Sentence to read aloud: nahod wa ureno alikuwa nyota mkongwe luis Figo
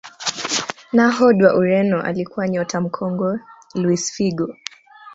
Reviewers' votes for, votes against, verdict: 2, 0, accepted